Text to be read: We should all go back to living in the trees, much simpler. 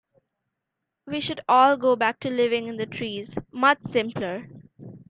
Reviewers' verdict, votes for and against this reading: accepted, 2, 0